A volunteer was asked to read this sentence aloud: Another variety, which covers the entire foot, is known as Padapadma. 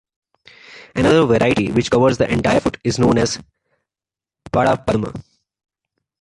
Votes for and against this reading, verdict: 2, 1, accepted